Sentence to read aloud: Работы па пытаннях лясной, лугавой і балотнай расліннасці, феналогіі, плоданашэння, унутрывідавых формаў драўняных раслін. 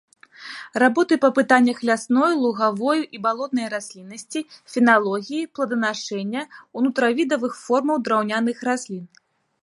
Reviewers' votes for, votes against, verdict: 3, 1, accepted